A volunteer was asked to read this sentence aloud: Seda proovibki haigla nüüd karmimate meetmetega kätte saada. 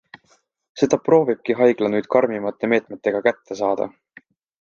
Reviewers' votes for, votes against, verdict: 2, 0, accepted